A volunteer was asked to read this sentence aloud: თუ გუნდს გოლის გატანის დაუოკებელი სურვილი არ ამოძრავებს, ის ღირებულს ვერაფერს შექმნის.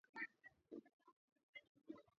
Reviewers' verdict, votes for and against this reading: rejected, 0, 2